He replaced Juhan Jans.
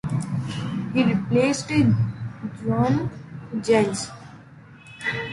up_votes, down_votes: 1, 2